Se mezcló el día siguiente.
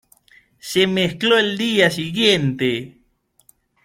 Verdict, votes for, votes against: accepted, 2, 0